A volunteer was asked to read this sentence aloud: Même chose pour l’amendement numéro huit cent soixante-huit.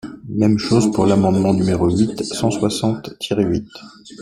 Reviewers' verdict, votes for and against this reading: rejected, 0, 2